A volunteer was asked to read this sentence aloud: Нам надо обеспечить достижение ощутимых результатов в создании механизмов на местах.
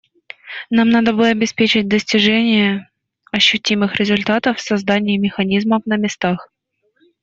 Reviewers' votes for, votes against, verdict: 1, 2, rejected